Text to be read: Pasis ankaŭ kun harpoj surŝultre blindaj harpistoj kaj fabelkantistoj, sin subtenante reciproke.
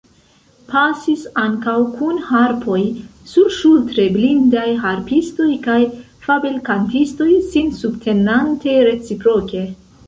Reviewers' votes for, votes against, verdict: 1, 2, rejected